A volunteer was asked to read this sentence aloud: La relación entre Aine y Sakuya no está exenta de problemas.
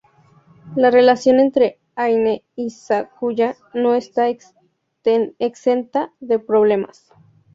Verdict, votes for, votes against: accepted, 2, 0